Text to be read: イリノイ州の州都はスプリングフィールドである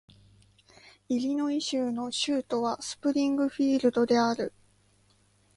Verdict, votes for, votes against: accepted, 2, 0